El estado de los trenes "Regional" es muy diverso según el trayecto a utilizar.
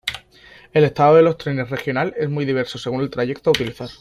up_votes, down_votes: 2, 0